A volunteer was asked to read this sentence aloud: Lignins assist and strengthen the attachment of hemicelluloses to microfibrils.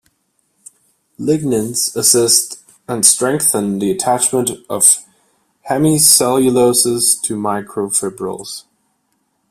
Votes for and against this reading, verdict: 1, 2, rejected